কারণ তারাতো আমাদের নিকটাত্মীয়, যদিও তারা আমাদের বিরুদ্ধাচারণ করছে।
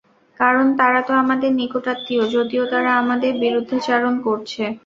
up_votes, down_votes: 2, 0